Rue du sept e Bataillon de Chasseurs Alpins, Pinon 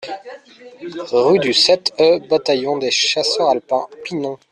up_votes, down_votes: 0, 2